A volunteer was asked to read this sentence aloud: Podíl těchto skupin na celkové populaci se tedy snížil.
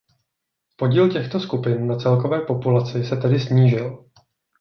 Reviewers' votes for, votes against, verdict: 2, 0, accepted